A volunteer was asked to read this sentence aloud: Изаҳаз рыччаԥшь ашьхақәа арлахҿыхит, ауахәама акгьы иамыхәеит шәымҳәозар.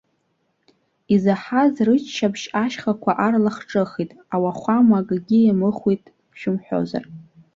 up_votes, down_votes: 2, 0